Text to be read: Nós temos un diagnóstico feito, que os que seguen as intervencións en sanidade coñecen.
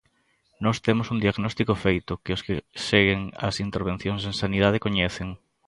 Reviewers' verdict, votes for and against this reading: accepted, 2, 0